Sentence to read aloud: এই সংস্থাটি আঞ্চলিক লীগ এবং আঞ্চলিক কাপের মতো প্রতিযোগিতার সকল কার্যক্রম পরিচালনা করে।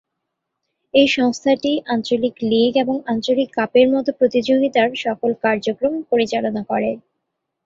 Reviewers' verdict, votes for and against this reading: accepted, 2, 0